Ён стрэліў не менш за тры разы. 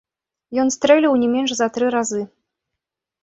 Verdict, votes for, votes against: rejected, 1, 2